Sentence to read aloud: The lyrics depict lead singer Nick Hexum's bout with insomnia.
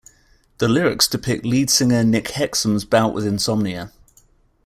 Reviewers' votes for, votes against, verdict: 2, 0, accepted